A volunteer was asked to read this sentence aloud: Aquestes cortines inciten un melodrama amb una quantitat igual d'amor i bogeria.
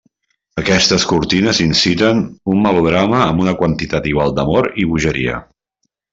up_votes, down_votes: 3, 0